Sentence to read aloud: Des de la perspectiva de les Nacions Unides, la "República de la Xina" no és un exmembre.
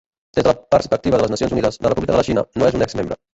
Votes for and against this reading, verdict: 0, 2, rejected